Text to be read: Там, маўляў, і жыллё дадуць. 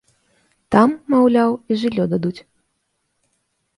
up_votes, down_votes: 2, 0